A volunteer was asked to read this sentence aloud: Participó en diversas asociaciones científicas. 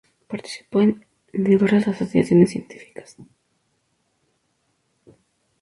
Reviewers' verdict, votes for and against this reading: rejected, 0, 2